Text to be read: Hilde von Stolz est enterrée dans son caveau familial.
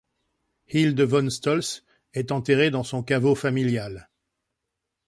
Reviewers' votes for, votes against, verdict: 2, 0, accepted